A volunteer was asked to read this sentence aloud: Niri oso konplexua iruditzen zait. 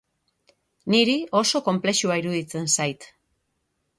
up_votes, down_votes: 6, 0